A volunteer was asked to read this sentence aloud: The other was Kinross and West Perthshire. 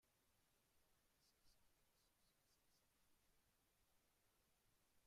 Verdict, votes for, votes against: rejected, 0, 2